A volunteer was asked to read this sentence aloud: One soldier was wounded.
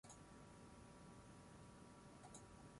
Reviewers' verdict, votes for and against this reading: rejected, 0, 6